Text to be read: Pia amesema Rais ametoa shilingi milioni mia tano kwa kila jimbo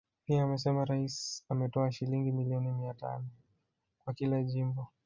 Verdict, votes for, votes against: rejected, 0, 2